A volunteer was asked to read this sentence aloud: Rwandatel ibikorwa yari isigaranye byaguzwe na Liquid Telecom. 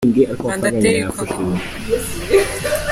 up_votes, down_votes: 0, 2